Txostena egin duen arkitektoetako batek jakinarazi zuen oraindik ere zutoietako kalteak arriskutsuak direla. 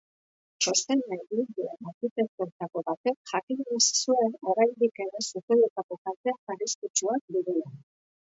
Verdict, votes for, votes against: rejected, 1, 2